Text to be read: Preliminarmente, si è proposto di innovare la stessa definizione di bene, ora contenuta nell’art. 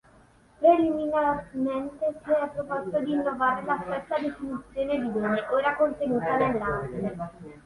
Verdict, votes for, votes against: rejected, 2, 3